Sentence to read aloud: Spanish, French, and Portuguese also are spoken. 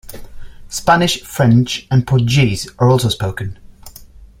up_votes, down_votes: 0, 2